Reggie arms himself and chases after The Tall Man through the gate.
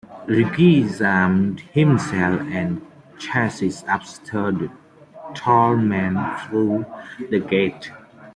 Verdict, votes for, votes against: rejected, 0, 2